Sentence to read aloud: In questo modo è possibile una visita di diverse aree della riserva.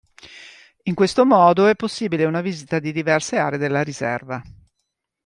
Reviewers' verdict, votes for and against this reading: accepted, 2, 0